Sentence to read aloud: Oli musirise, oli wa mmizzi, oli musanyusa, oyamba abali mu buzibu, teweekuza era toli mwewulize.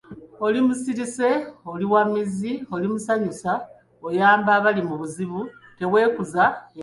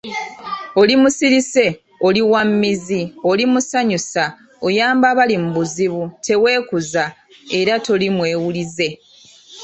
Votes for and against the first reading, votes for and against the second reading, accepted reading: 0, 2, 2, 0, second